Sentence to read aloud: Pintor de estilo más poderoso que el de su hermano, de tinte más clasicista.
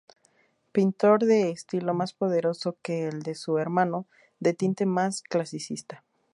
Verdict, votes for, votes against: accepted, 2, 0